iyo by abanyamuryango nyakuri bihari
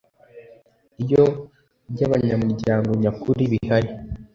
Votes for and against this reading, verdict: 2, 0, accepted